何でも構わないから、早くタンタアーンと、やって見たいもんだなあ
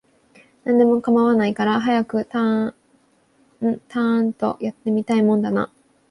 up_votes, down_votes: 2, 3